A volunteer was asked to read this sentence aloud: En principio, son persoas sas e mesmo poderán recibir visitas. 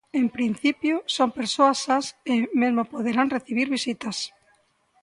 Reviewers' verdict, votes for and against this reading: rejected, 1, 2